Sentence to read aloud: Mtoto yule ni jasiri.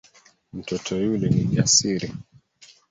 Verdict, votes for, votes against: accepted, 2, 1